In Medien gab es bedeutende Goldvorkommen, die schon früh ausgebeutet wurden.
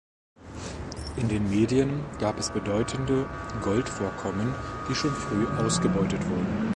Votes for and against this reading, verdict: 1, 2, rejected